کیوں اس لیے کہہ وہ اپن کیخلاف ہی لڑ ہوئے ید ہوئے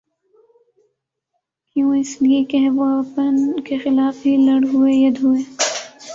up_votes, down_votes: 7, 1